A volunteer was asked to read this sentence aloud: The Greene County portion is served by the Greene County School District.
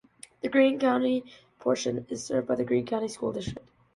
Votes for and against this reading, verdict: 1, 2, rejected